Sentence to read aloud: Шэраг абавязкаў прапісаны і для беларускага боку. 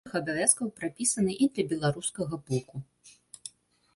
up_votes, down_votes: 0, 2